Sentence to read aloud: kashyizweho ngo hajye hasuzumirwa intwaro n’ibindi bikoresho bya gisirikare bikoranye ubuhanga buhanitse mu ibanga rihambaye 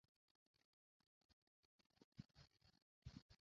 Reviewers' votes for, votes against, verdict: 0, 2, rejected